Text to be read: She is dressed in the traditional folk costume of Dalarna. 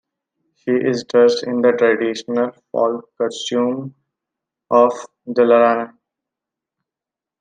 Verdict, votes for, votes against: rejected, 0, 2